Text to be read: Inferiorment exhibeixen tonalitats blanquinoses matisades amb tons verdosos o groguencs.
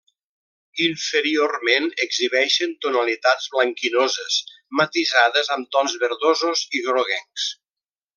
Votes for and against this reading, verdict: 1, 2, rejected